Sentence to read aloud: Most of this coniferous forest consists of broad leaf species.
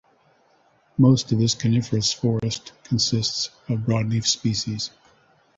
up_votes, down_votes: 2, 0